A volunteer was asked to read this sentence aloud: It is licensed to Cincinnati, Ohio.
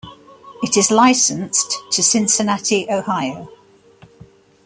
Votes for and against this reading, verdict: 2, 0, accepted